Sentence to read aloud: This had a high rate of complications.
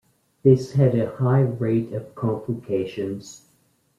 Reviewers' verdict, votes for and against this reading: accepted, 2, 0